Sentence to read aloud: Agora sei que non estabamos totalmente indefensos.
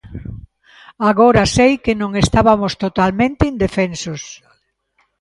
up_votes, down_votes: 0, 2